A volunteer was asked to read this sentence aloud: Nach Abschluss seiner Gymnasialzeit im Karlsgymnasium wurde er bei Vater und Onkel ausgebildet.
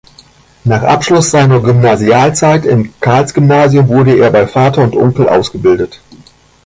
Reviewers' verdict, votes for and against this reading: rejected, 1, 2